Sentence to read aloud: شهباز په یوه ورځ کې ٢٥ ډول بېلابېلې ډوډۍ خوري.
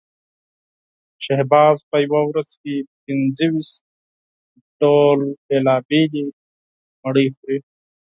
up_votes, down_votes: 0, 2